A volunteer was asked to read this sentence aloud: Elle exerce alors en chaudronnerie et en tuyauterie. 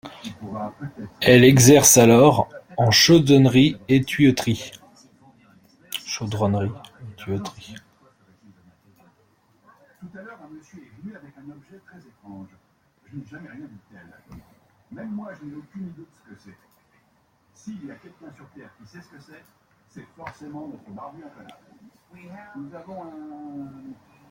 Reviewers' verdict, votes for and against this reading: rejected, 0, 2